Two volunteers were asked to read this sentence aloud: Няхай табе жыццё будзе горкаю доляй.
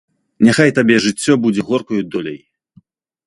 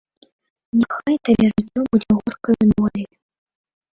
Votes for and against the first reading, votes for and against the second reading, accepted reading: 2, 0, 0, 2, first